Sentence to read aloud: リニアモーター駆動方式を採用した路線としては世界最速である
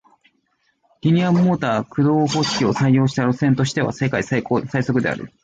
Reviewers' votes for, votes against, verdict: 2, 0, accepted